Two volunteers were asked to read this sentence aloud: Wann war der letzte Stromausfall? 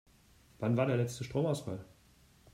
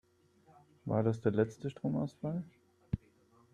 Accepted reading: first